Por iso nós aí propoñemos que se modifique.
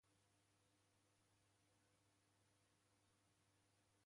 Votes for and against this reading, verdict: 0, 2, rejected